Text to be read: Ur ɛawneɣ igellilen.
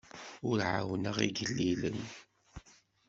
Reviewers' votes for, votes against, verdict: 2, 0, accepted